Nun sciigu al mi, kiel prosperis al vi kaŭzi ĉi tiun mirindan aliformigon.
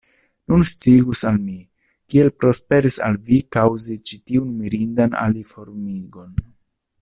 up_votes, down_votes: 0, 2